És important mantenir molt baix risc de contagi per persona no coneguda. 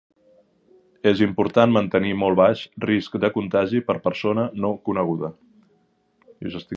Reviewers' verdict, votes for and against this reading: rejected, 1, 2